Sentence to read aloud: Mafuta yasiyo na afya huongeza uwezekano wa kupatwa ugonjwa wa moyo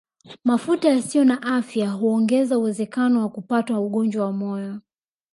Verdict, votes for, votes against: rejected, 0, 2